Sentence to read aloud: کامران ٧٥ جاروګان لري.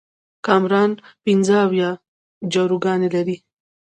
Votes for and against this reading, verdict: 0, 2, rejected